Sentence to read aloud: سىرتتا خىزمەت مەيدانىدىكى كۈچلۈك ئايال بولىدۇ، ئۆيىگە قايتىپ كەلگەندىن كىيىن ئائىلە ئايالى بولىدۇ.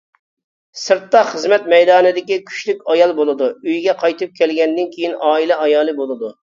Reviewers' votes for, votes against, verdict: 2, 0, accepted